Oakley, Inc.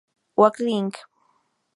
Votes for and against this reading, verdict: 2, 2, rejected